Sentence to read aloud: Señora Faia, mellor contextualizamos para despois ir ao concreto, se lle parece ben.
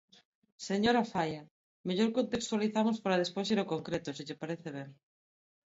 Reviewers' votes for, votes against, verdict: 4, 0, accepted